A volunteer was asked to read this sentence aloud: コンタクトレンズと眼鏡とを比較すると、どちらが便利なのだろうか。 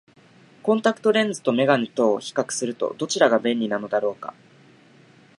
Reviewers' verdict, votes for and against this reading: accepted, 2, 0